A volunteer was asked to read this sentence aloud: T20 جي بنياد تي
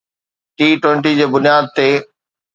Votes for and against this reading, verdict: 0, 2, rejected